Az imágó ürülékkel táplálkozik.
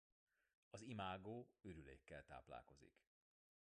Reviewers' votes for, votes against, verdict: 0, 2, rejected